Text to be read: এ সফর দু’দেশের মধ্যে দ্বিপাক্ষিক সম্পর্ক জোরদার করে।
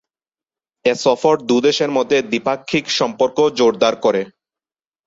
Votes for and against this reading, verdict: 9, 0, accepted